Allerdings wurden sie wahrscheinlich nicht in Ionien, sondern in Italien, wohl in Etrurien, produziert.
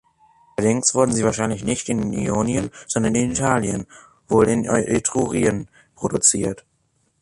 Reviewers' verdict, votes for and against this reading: accepted, 3, 0